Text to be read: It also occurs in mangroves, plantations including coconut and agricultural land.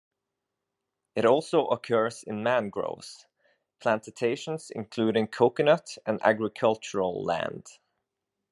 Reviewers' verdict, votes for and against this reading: rejected, 0, 2